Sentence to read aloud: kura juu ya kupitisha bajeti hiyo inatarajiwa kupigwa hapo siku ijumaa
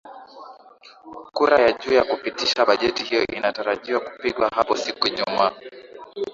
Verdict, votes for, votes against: rejected, 0, 2